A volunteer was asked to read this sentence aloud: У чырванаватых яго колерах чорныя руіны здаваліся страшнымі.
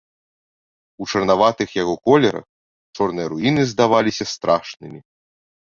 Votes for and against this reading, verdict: 0, 2, rejected